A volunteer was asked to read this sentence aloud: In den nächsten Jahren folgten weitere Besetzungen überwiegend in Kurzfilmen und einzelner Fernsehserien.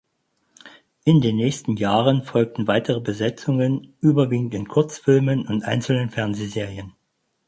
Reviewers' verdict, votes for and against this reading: rejected, 0, 4